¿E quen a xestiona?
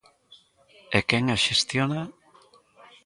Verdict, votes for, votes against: accepted, 2, 1